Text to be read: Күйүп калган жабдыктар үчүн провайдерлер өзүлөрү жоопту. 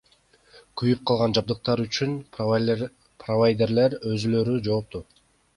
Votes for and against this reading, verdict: 1, 2, rejected